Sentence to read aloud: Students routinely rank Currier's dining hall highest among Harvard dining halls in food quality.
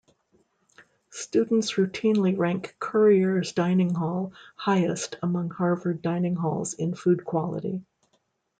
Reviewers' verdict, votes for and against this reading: accepted, 2, 0